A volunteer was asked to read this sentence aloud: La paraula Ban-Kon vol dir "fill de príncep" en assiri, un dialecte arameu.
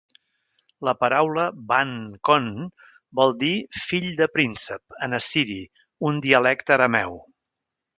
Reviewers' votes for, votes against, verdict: 2, 0, accepted